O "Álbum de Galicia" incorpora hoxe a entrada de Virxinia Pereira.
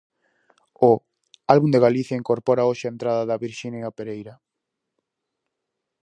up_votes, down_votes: 2, 2